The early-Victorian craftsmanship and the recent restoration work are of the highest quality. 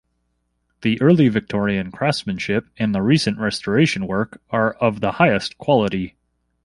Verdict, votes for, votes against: accepted, 2, 0